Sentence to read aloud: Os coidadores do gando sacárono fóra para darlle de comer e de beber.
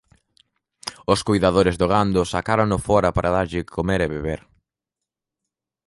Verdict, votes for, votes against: rejected, 0, 2